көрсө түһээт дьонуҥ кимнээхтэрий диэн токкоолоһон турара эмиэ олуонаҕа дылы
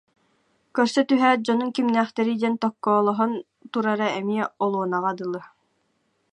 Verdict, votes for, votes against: accepted, 2, 0